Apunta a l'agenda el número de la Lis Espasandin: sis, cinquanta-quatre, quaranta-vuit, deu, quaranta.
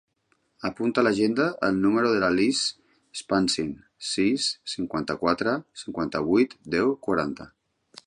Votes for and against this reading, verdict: 1, 2, rejected